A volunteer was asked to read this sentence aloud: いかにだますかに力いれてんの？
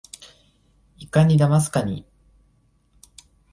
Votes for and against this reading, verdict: 2, 3, rejected